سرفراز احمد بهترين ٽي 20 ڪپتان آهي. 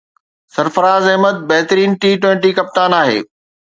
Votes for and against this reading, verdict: 0, 2, rejected